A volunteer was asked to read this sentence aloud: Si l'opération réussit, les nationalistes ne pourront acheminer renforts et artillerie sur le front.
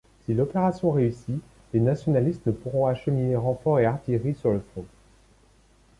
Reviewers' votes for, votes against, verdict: 0, 2, rejected